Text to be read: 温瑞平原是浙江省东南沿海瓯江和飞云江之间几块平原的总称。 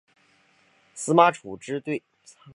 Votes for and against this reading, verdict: 0, 3, rejected